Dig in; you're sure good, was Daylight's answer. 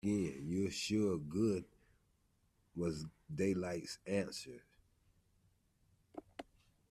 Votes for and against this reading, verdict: 1, 2, rejected